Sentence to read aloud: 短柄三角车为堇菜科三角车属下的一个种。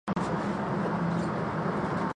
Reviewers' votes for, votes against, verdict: 0, 2, rejected